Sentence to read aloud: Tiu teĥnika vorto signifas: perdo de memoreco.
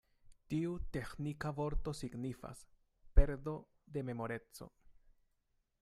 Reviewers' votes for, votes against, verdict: 2, 0, accepted